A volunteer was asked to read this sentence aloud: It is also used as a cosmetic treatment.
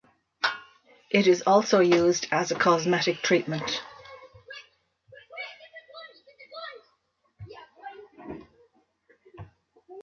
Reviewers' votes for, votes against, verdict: 2, 0, accepted